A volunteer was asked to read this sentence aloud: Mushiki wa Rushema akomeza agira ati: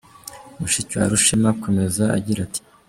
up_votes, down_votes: 2, 0